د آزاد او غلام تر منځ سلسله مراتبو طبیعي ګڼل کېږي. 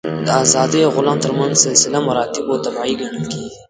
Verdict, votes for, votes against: rejected, 0, 2